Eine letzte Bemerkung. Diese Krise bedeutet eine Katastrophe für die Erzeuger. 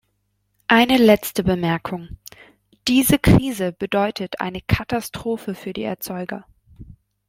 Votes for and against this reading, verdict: 1, 2, rejected